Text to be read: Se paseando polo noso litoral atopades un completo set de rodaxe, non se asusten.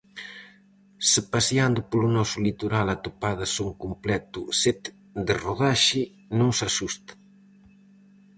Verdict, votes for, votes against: rejected, 2, 2